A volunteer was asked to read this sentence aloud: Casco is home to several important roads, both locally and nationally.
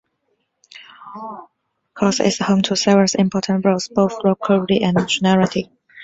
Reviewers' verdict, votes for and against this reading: rejected, 0, 2